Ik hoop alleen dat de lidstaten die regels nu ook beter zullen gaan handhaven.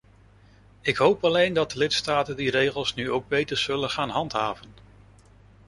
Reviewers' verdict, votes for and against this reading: rejected, 1, 2